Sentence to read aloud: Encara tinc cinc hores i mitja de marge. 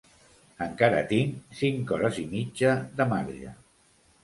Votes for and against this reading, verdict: 2, 0, accepted